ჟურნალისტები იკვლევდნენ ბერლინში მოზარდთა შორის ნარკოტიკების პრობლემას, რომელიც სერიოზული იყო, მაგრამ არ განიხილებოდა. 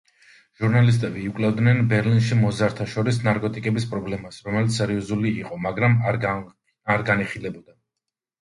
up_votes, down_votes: 0, 2